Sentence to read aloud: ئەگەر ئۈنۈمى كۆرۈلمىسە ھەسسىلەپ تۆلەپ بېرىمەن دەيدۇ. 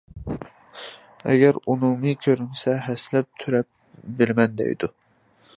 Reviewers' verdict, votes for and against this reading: rejected, 0, 2